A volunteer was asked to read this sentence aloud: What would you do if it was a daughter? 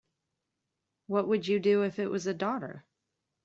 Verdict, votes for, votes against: accepted, 2, 0